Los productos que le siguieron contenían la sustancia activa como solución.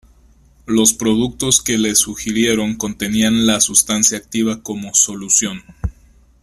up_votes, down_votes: 1, 2